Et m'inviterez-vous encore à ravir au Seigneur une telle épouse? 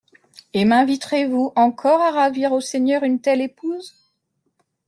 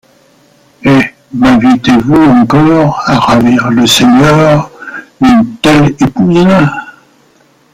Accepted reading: first